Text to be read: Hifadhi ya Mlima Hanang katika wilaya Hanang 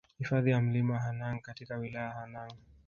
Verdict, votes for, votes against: rejected, 1, 2